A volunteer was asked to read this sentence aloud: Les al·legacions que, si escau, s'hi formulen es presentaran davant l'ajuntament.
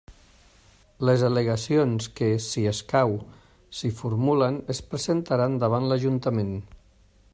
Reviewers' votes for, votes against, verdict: 3, 0, accepted